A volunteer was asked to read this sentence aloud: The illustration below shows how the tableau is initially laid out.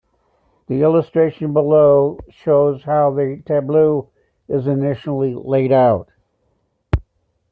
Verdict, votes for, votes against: accepted, 2, 0